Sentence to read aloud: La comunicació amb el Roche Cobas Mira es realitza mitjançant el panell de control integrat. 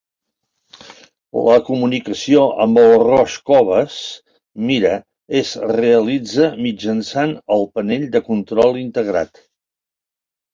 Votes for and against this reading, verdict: 0, 2, rejected